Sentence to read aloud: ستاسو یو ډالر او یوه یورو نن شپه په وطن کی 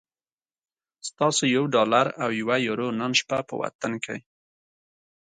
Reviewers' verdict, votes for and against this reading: accepted, 2, 0